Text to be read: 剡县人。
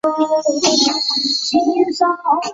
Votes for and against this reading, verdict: 0, 3, rejected